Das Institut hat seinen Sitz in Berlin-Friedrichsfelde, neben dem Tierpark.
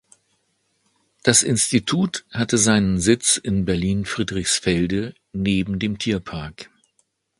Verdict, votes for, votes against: rejected, 0, 2